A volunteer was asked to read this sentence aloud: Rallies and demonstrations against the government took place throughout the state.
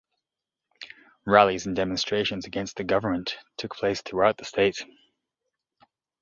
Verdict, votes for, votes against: accepted, 2, 0